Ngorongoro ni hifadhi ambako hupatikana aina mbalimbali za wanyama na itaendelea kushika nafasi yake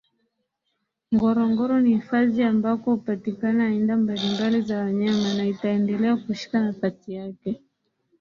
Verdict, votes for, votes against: rejected, 1, 2